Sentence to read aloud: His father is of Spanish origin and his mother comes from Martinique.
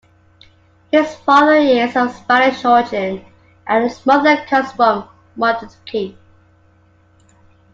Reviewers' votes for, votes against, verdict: 2, 1, accepted